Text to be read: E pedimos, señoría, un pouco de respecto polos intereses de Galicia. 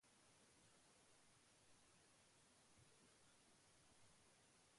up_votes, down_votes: 0, 2